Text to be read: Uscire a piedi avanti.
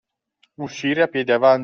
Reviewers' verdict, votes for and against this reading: rejected, 1, 2